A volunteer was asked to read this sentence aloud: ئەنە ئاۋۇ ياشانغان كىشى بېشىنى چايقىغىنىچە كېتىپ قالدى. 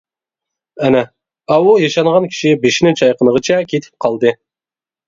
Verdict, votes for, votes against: rejected, 0, 2